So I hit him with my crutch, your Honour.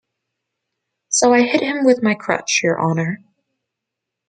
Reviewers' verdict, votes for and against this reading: accepted, 2, 0